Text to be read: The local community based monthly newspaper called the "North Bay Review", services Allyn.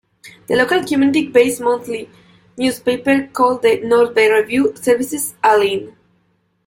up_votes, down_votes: 1, 2